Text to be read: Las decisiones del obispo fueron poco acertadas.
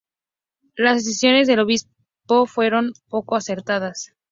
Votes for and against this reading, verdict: 2, 0, accepted